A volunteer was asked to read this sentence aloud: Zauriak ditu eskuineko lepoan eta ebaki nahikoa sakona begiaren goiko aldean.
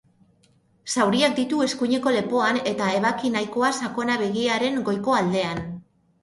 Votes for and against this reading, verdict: 2, 0, accepted